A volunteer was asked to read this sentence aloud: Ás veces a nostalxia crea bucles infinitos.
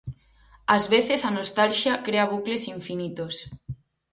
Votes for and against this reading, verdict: 4, 0, accepted